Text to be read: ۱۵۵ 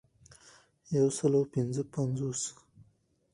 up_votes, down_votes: 0, 2